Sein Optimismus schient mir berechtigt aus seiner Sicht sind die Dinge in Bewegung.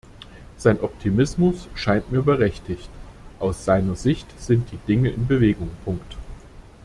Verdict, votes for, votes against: rejected, 0, 2